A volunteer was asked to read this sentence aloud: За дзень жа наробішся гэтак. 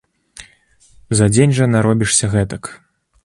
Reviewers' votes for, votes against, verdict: 2, 0, accepted